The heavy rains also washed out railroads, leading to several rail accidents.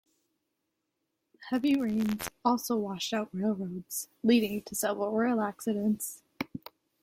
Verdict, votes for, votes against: accepted, 2, 0